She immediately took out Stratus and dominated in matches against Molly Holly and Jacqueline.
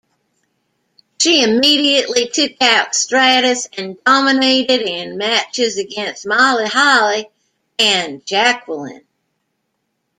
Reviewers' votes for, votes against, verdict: 2, 0, accepted